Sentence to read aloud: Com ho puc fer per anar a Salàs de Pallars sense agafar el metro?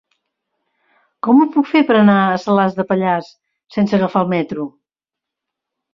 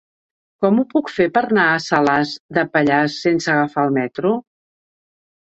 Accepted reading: first